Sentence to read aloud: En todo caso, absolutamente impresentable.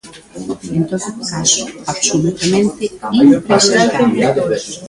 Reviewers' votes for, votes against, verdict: 0, 2, rejected